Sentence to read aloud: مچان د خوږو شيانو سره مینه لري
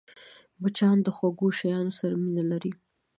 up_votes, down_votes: 0, 2